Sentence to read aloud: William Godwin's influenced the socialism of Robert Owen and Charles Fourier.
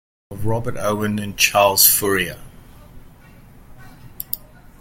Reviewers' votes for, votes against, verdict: 0, 2, rejected